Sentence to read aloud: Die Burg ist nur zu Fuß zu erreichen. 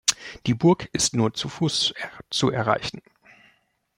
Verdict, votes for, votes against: rejected, 0, 2